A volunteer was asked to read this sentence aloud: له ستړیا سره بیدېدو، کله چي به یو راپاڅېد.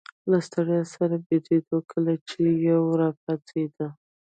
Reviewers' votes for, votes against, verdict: 2, 0, accepted